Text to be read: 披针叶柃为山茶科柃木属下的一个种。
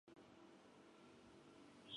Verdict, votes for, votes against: rejected, 0, 2